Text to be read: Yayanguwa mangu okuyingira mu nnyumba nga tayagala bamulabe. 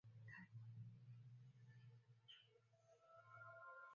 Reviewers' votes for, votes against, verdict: 0, 3, rejected